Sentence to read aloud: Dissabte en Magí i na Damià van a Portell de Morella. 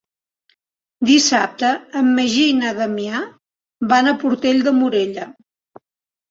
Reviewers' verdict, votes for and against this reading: accepted, 2, 0